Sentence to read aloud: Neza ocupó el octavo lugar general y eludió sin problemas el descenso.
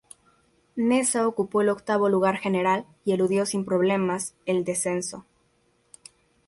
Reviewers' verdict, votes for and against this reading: accepted, 4, 0